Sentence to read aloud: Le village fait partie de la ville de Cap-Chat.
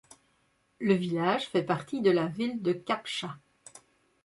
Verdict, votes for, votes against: accepted, 2, 0